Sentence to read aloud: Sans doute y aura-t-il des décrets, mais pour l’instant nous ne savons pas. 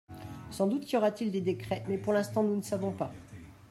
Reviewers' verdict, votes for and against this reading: accepted, 2, 1